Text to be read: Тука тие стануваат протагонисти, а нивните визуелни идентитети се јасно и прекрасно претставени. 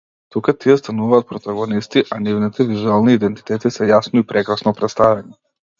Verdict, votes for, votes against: accepted, 2, 0